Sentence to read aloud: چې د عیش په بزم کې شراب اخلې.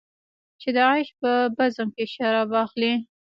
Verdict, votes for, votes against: rejected, 0, 2